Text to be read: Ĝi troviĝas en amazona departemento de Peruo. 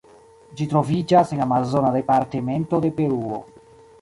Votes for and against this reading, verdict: 2, 0, accepted